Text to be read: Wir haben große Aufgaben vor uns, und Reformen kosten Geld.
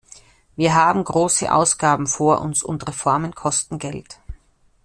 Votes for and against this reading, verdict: 0, 2, rejected